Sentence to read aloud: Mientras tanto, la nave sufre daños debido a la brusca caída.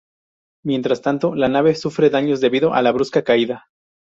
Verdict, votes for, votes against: accepted, 2, 0